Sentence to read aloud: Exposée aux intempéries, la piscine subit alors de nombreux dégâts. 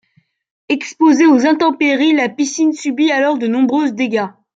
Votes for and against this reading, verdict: 1, 2, rejected